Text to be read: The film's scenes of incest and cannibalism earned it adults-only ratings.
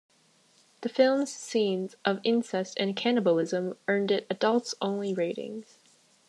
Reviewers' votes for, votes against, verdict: 2, 0, accepted